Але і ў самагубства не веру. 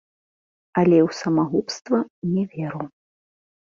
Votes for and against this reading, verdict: 1, 2, rejected